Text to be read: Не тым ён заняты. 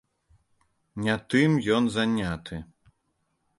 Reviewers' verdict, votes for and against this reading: accepted, 2, 0